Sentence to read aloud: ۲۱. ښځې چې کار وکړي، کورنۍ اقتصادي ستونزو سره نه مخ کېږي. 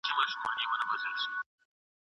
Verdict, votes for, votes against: rejected, 0, 2